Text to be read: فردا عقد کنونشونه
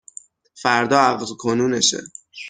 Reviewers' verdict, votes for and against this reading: rejected, 0, 6